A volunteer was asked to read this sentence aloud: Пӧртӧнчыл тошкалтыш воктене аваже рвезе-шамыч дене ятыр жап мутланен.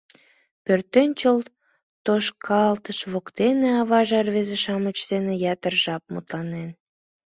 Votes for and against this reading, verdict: 2, 0, accepted